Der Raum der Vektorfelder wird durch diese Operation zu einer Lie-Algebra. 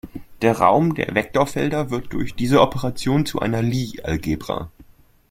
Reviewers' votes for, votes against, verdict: 2, 0, accepted